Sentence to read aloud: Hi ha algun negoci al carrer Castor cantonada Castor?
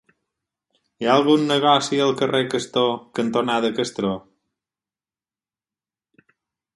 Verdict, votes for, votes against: rejected, 2, 4